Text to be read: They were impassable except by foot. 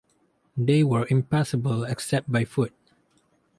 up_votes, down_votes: 4, 0